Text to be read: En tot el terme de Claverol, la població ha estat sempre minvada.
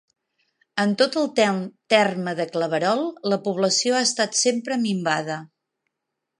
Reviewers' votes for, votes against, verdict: 1, 2, rejected